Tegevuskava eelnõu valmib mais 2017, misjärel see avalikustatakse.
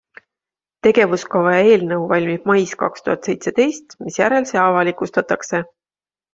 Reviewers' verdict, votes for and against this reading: rejected, 0, 2